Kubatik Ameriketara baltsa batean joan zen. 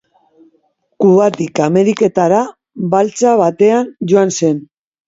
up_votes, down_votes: 3, 0